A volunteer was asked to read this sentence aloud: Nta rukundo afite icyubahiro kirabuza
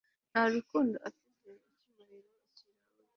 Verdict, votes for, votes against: rejected, 1, 2